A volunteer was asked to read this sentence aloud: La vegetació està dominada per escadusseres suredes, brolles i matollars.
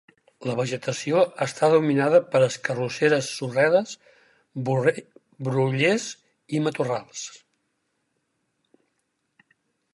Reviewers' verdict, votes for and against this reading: rejected, 0, 4